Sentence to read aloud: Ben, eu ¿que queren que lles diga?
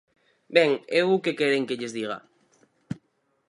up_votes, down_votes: 4, 0